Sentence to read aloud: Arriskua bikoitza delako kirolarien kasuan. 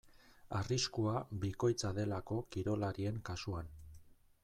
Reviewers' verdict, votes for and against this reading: accepted, 2, 0